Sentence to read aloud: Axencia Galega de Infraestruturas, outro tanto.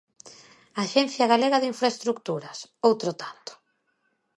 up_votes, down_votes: 2, 0